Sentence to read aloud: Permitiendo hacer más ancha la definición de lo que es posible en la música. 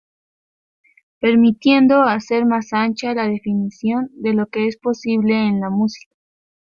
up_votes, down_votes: 0, 2